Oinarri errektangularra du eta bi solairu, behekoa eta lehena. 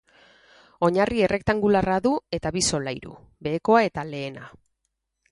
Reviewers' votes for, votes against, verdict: 4, 0, accepted